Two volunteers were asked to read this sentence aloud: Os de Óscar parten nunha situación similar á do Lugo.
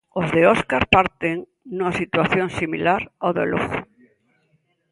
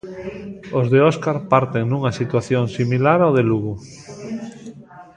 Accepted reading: first